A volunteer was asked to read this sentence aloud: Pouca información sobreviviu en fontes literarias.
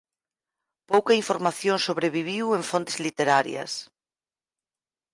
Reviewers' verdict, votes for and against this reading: accepted, 4, 0